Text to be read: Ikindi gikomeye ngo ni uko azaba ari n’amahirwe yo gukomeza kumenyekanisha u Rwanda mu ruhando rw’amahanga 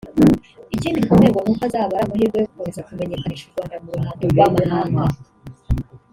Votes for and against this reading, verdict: 1, 2, rejected